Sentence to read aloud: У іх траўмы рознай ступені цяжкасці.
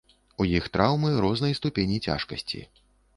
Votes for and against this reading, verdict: 2, 0, accepted